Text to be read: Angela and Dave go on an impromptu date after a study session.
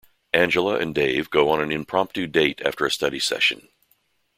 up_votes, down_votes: 2, 0